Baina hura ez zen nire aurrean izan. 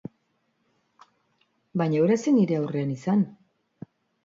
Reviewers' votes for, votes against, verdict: 2, 0, accepted